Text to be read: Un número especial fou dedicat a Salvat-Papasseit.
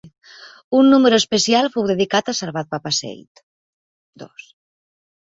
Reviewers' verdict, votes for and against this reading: accepted, 2, 1